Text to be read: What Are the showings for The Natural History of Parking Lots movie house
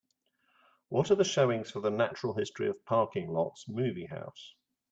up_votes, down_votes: 2, 0